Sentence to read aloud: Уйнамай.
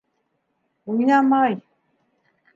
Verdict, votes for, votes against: accepted, 2, 0